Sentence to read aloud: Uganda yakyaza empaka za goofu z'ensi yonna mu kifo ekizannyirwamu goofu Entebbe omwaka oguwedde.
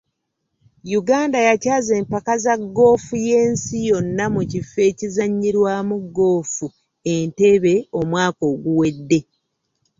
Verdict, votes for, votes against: rejected, 0, 2